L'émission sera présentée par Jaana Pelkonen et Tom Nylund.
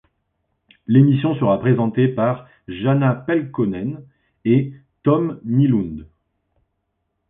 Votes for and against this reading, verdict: 2, 0, accepted